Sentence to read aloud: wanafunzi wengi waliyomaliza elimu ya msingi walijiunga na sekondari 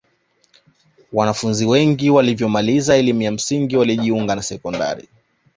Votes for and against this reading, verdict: 2, 0, accepted